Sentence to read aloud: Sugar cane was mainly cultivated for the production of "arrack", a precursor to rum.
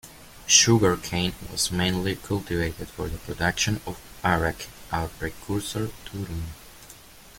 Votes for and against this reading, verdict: 2, 0, accepted